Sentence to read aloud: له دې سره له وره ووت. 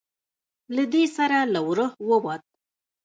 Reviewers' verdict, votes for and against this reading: rejected, 3, 4